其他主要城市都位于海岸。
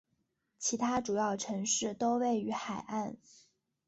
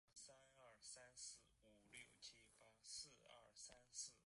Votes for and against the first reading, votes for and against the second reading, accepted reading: 2, 0, 0, 4, first